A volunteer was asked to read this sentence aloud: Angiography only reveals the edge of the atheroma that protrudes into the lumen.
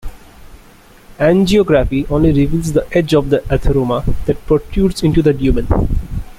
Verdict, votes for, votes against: accepted, 2, 1